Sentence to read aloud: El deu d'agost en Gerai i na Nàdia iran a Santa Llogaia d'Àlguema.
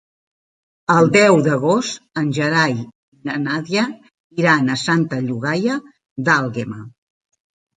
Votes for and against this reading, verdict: 3, 0, accepted